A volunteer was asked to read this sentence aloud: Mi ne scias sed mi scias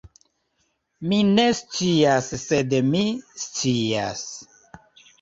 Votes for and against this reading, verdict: 2, 0, accepted